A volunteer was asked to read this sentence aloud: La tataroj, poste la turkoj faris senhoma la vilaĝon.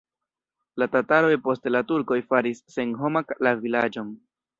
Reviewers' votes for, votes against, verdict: 1, 2, rejected